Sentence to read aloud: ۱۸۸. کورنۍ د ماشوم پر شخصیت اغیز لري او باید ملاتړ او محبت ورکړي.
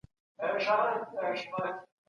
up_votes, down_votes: 0, 2